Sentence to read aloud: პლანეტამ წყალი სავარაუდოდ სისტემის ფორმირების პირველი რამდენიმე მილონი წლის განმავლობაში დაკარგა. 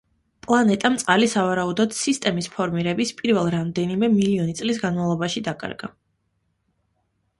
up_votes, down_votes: 1, 2